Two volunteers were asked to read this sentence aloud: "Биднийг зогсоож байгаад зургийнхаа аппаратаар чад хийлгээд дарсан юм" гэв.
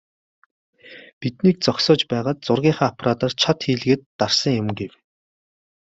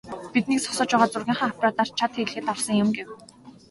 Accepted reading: first